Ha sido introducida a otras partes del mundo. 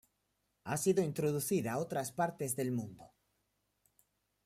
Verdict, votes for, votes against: accepted, 2, 0